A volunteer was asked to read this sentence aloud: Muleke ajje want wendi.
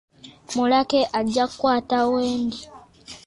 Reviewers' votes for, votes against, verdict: 0, 2, rejected